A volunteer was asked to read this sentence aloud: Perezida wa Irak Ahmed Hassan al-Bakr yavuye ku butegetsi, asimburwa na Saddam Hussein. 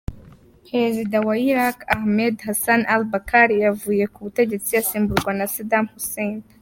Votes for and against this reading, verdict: 2, 0, accepted